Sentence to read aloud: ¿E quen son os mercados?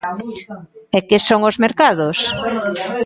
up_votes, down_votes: 0, 2